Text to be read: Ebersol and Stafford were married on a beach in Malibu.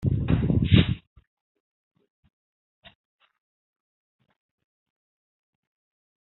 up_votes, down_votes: 0, 2